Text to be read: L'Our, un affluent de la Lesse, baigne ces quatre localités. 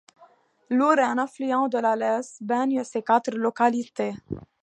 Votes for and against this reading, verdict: 2, 0, accepted